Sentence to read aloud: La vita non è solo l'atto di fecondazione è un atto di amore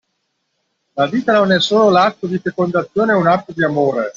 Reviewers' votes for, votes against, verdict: 2, 0, accepted